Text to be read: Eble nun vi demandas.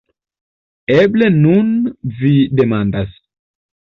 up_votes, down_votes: 2, 0